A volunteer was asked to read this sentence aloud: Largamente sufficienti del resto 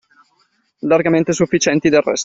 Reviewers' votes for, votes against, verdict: 1, 2, rejected